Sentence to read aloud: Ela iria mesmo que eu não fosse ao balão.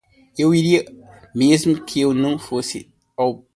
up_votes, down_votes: 0, 2